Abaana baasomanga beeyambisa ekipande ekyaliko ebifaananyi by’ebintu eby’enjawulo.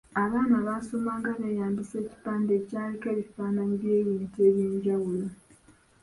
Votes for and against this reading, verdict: 2, 1, accepted